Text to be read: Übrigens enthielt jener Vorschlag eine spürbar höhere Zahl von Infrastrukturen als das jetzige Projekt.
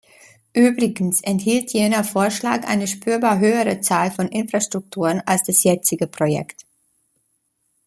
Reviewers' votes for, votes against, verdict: 1, 2, rejected